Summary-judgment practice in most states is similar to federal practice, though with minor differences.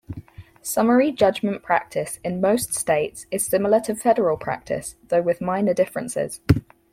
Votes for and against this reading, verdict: 4, 0, accepted